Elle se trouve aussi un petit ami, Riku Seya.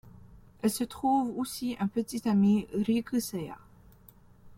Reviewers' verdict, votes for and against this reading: accepted, 2, 1